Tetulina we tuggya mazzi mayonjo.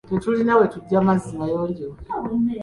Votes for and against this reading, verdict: 2, 0, accepted